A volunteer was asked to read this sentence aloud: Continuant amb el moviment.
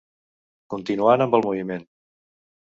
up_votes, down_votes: 3, 0